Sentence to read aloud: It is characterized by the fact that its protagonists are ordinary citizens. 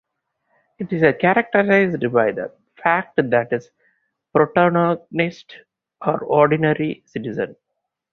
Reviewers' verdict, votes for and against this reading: rejected, 2, 2